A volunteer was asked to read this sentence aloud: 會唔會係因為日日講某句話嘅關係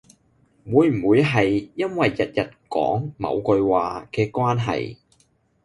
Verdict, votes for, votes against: accepted, 2, 0